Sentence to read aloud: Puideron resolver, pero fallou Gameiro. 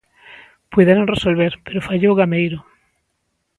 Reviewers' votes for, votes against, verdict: 2, 0, accepted